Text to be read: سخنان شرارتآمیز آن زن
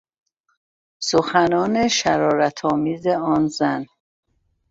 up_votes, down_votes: 2, 0